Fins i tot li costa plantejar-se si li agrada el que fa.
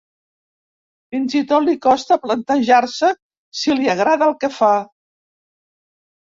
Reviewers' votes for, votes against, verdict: 2, 0, accepted